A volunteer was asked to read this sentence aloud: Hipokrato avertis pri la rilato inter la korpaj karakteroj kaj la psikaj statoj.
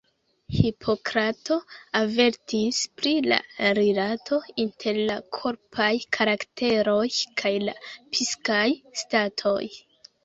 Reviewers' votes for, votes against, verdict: 1, 3, rejected